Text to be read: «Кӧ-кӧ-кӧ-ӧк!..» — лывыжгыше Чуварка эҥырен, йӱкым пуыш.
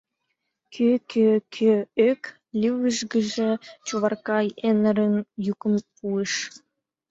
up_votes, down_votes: 1, 2